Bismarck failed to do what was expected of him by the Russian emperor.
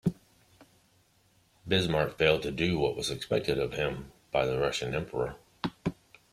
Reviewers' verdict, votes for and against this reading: accepted, 2, 0